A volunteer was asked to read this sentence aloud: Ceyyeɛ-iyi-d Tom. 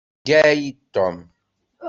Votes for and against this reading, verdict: 1, 2, rejected